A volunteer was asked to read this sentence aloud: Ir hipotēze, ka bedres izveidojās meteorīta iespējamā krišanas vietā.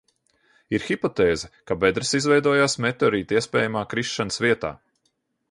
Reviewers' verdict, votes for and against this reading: accepted, 3, 0